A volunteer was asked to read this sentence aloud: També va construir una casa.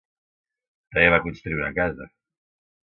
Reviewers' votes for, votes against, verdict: 1, 3, rejected